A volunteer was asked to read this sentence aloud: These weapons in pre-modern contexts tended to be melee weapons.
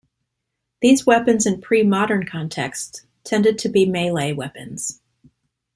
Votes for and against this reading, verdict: 2, 0, accepted